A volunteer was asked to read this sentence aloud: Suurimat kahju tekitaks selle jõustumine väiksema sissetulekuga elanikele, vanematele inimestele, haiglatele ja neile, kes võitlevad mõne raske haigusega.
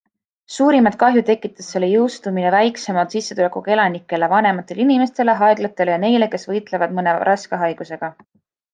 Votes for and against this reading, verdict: 2, 0, accepted